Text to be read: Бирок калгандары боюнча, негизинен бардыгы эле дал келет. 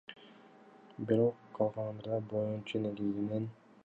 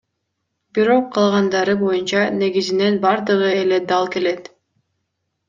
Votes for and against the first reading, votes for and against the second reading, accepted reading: 1, 2, 2, 0, second